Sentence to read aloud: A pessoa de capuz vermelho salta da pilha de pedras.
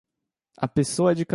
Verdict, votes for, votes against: rejected, 0, 2